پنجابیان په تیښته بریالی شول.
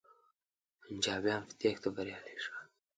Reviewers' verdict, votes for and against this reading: accepted, 2, 0